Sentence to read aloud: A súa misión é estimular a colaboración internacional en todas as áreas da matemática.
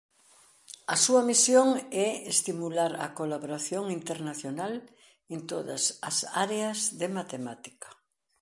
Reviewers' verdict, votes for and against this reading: rejected, 0, 2